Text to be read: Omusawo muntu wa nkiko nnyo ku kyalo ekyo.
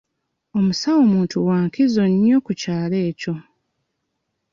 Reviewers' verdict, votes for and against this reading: rejected, 1, 2